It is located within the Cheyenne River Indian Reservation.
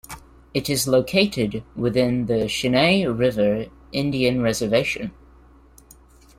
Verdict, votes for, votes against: accepted, 2, 1